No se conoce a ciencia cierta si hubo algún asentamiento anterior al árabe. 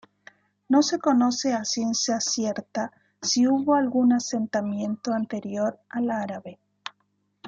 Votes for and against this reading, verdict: 2, 0, accepted